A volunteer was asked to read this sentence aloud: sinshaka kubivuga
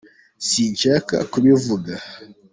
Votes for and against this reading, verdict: 2, 1, accepted